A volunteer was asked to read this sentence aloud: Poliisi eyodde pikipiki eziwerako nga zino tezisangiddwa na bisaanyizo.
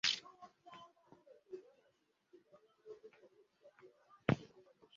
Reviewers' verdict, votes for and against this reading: rejected, 0, 2